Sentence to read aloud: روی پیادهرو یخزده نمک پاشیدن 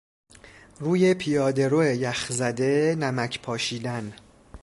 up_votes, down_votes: 2, 0